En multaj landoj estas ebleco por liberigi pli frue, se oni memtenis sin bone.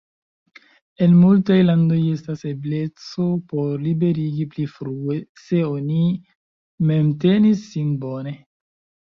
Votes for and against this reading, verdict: 1, 2, rejected